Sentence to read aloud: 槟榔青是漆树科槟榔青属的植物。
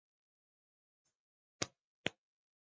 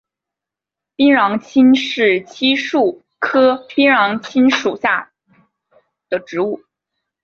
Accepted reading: second